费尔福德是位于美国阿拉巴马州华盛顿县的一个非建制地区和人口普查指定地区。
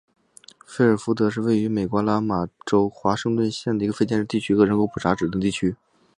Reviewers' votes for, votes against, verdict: 2, 0, accepted